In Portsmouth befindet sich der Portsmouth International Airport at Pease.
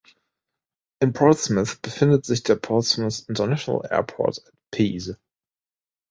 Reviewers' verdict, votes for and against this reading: rejected, 0, 2